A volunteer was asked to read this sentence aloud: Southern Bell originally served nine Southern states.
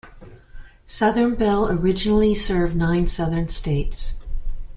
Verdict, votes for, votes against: accepted, 2, 0